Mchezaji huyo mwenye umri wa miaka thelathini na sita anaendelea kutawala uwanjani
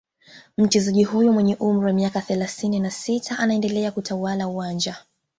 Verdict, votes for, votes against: accepted, 2, 1